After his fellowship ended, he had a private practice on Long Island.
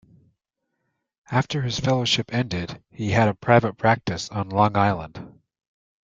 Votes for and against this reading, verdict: 2, 0, accepted